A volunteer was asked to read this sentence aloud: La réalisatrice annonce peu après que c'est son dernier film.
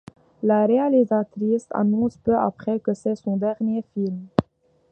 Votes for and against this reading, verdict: 2, 0, accepted